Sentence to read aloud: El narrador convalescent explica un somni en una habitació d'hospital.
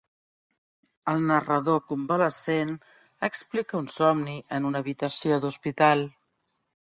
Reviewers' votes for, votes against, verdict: 1, 2, rejected